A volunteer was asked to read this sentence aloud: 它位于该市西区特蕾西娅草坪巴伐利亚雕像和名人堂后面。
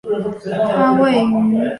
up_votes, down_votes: 1, 4